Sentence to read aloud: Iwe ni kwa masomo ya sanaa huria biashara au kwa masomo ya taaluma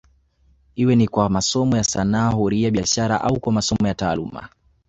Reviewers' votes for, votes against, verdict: 2, 1, accepted